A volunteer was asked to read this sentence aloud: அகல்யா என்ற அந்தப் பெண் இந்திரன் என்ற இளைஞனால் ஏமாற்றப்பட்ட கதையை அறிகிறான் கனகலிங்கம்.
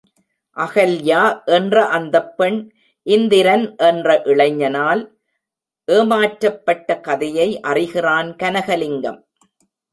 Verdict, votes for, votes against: rejected, 0, 2